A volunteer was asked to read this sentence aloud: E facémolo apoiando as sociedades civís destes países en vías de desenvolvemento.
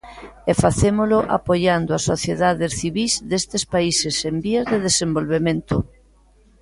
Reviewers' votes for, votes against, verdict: 2, 0, accepted